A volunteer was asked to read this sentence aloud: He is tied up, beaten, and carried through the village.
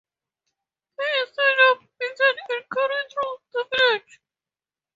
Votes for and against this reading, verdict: 2, 0, accepted